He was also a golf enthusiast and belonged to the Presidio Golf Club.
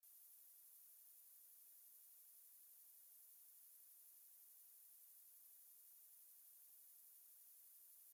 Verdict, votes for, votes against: rejected, 0, 2